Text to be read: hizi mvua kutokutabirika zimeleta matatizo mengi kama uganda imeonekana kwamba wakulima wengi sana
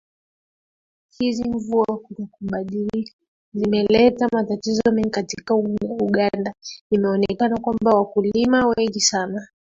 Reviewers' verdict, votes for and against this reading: accepted, 2, 1